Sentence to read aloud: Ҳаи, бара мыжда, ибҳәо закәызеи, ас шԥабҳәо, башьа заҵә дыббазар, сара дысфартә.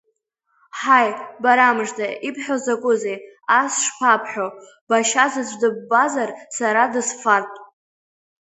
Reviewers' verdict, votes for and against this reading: accepted, 2, 0